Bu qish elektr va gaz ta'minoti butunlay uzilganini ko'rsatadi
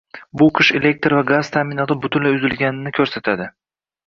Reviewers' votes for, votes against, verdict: 2, 0, accepted